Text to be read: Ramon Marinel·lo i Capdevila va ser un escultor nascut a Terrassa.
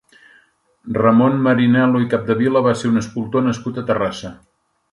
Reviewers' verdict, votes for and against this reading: accepted, 2, 0